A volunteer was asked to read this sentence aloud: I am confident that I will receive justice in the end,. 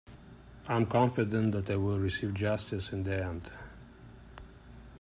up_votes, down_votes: 1, 2